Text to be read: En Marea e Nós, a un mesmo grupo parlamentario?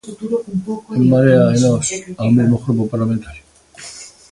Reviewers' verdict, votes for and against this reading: rejected, 0, 2